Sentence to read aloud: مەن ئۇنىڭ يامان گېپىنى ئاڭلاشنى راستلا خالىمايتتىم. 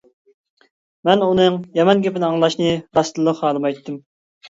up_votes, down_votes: 0, 2